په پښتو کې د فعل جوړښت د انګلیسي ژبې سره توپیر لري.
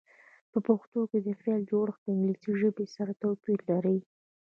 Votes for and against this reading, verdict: 2, 0, accepted